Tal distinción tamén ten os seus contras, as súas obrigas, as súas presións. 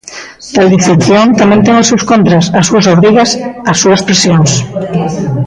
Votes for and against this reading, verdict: 0, 2, rejected